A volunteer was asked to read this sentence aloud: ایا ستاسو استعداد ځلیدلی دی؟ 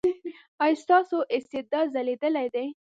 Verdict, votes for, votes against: accepted, 2, 0